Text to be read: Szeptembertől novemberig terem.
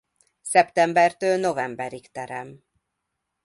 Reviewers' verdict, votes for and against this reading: accepted, 2, 0